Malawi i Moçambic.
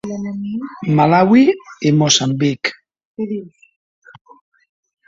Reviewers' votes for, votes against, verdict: 0, 2, rejected